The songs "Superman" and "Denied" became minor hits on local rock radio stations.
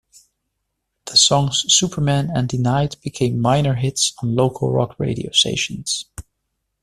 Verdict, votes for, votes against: accepted, 2, 0